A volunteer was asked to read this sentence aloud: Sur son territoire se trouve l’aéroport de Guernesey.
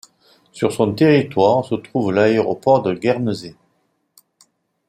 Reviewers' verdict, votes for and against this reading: accepted, 2, 0